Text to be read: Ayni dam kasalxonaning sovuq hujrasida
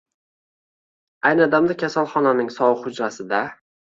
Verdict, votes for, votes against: accepted, 2, 0